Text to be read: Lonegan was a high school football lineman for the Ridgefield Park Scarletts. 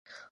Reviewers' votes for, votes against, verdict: 0, 2, rejected